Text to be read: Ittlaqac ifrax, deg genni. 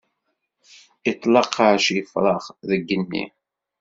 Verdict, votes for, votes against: rejected, 0, 2